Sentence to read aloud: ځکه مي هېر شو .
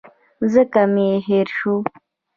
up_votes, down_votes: 0, 2